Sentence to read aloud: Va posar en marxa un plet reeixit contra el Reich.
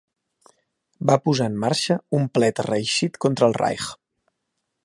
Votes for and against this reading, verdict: 2, 0, accepted